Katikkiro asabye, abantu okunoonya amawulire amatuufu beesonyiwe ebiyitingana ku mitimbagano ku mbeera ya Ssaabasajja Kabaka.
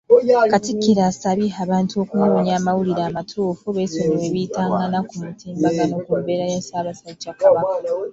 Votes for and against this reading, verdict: 0, 2, rejected